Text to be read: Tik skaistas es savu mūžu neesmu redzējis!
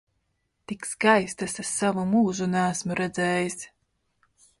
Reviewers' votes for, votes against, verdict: 3, 0, accepted